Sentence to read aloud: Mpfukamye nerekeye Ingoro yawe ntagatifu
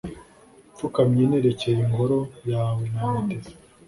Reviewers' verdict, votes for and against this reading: accepted, 2, 1